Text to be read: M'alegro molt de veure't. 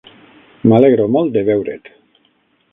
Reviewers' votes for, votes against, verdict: 9, 0, accepted